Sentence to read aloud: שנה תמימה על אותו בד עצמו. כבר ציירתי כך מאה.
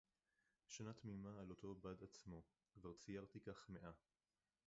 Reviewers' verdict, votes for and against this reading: rejected, 0, 4